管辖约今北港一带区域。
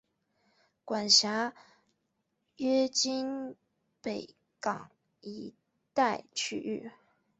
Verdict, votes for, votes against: accepted, 4, 0